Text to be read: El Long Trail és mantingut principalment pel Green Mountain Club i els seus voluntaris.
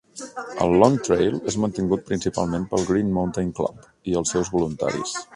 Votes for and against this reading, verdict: 1, 2, rejected